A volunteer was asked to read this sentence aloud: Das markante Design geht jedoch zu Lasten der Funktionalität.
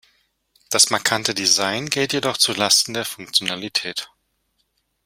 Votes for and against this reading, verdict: 2, 0, accepted